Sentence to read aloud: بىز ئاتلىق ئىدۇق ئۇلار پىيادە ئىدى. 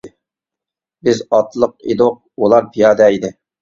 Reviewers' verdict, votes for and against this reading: accepted, 2, 0